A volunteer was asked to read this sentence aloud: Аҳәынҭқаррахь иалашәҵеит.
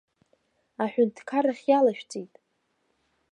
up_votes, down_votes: 2, 0